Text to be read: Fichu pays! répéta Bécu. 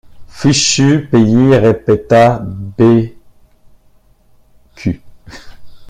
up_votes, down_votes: 1, 2